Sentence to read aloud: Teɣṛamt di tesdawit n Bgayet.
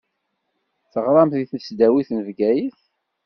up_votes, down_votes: 2, 0